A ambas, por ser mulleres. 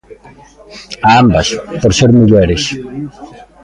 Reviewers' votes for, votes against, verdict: 0, 2, rejected